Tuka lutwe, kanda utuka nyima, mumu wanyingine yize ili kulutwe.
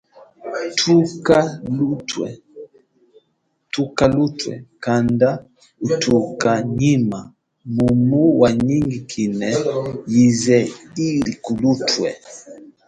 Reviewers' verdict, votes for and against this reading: rejected, 1, 2